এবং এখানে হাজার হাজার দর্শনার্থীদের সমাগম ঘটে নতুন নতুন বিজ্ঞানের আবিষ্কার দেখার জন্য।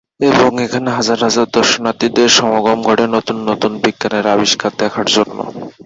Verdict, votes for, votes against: accepted, 2, 0